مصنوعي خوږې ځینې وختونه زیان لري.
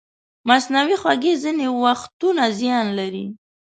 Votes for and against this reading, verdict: 2, 0, accepted